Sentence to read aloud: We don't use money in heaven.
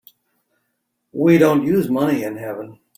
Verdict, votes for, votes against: accepted, 2, 0